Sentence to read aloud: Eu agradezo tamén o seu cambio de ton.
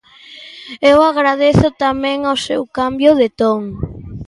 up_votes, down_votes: 2, 0